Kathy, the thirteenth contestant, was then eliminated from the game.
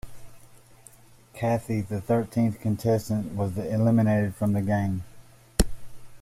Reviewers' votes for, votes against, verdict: 2, 0, accepted